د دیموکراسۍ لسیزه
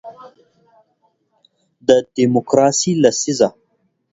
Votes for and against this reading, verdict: 1, 2, rejected